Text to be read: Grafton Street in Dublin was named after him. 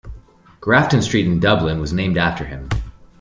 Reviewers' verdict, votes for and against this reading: accepted, 2, 1